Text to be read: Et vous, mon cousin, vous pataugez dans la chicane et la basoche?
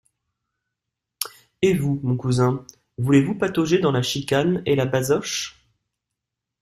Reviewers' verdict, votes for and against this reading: rejected, 0, 2